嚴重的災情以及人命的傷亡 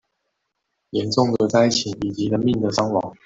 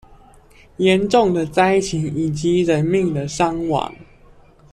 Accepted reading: second